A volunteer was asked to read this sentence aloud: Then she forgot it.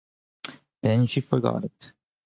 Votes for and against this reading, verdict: 4, 0, accepted